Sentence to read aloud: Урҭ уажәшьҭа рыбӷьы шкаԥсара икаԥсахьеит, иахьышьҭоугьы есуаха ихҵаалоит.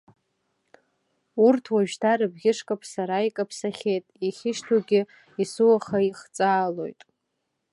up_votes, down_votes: 2, 0